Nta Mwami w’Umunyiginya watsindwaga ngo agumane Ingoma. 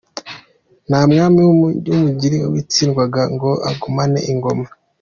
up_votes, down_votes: 0, 2